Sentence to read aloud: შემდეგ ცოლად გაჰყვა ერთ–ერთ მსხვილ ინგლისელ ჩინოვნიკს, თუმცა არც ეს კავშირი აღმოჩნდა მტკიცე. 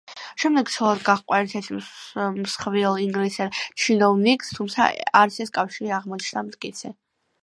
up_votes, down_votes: 1, 2